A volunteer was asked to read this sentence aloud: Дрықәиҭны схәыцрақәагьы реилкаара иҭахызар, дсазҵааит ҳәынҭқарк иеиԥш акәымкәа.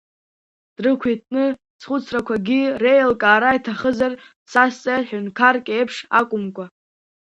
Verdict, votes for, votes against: accepted, 2, 1